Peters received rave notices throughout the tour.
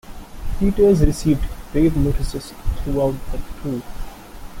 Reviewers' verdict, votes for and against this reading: rejected, 0, 2